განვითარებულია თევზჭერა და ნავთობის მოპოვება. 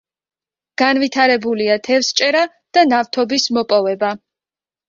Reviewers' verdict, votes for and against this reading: accepted, 2, 0